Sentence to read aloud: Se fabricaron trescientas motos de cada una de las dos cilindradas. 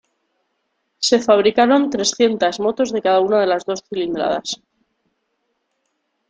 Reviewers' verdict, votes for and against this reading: accepted, 2, 0